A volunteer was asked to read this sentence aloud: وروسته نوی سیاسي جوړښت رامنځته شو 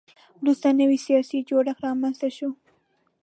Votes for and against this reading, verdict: 3, 0, accepted